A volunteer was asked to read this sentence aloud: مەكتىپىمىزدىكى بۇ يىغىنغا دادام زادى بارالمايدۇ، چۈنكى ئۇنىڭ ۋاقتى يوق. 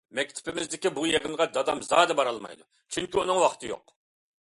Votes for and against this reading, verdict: 2, 0, accepted